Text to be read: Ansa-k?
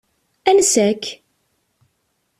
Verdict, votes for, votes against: accepted, 2, 0